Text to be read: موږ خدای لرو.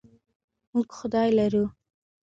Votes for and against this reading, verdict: 2, 1, accepted